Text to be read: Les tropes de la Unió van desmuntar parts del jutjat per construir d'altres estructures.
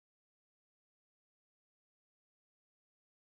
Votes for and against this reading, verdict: 0, 2, rejected